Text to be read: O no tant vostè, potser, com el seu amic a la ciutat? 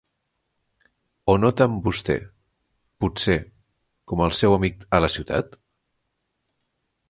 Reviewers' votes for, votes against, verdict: 2, 0, accepted